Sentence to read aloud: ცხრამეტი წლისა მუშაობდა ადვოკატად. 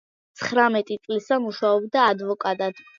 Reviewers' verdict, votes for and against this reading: accepted, 2, 0